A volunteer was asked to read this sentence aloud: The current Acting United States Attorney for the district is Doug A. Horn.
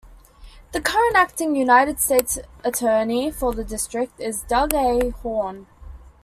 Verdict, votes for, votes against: accepted, 2, 0